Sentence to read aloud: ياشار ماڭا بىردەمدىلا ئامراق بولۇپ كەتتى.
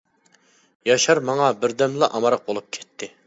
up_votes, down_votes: 1, 2